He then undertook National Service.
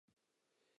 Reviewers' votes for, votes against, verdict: 0, 2, rejected